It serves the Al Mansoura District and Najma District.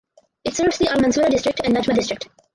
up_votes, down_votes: 0, 4